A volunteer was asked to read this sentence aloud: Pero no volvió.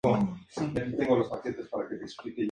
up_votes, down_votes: 0, 2